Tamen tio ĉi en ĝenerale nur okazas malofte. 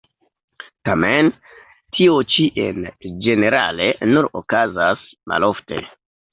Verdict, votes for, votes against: rejected, 0, 2